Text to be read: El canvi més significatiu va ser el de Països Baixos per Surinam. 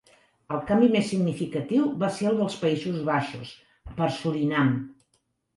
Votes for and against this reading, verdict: 1, 2, rejected